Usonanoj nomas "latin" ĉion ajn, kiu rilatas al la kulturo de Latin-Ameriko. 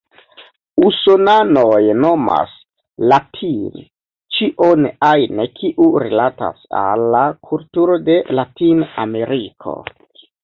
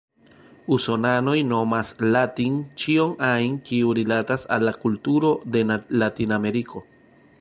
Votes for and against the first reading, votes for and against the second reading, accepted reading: 2, 1, 1, 2, first